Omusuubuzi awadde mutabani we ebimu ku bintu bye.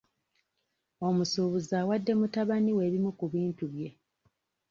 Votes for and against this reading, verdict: 2, 1, accepted